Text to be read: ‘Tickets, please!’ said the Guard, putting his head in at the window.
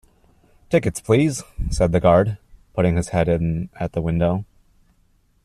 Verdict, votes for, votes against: accepted, 2, 0